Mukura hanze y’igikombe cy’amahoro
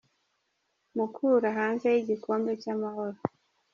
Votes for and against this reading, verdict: 2, 0, accepted